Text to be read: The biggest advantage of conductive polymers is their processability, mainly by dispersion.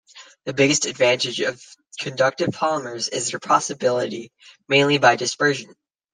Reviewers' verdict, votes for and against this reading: rejected, 0, 2